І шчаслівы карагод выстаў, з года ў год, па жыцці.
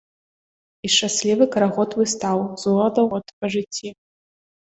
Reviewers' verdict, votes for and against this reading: accepted, 2, 0